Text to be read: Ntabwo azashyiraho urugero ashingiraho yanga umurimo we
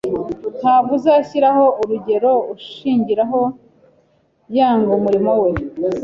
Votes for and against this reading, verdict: 1, 2, rejected